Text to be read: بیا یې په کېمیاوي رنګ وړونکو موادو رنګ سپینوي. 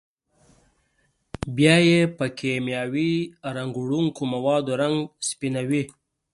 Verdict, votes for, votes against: accepted, 3, 0